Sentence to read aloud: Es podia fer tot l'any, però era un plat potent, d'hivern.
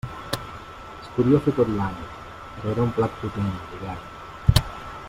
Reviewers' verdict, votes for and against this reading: accepted, 2, 0